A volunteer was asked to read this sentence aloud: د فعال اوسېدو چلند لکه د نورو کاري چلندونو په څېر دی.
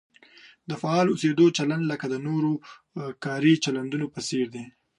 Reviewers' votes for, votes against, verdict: 2, 0, accepted